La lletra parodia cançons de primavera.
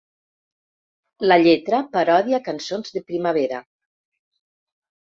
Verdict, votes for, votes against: rejected, 1, 2